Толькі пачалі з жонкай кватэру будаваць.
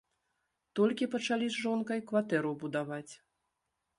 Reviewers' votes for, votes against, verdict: 2, 0, accepted